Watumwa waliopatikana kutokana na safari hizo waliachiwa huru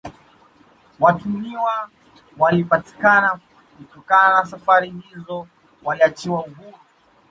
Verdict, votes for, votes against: rejected, 1, 2